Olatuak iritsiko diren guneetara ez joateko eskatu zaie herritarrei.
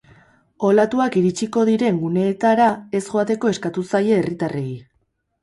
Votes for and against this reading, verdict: 2, 2, rejected